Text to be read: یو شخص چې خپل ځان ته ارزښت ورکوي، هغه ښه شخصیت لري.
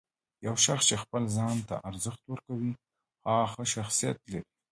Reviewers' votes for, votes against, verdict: 2, 1, accepted